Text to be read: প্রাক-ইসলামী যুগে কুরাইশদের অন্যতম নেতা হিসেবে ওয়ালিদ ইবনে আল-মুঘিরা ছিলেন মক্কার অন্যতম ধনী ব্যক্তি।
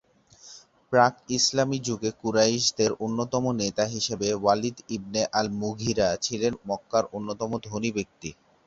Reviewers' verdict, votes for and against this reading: accepted, 2, 0